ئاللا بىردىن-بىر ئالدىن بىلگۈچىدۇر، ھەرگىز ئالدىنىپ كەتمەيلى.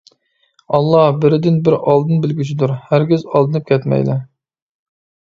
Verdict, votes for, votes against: accepted, 2, 0